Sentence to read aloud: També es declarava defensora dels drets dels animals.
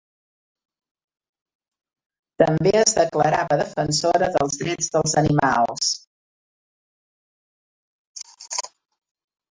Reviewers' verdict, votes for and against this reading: rejected, 0, 2